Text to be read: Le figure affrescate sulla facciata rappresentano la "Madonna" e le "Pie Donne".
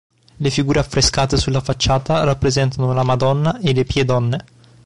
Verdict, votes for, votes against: accepted, 2, 0